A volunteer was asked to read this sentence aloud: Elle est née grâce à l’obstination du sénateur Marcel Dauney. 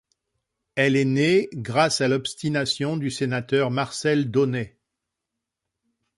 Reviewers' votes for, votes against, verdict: 2, 0, accepted